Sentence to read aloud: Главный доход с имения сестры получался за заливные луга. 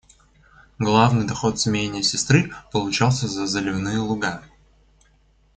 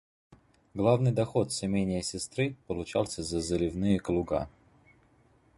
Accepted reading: first